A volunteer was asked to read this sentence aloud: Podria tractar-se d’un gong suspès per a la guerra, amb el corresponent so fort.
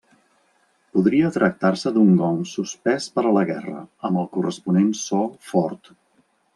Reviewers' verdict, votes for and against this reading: accepted, 2, 0